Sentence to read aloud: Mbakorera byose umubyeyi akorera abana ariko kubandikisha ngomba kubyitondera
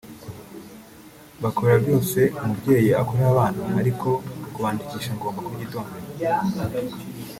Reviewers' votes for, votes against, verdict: 1, 2, rejected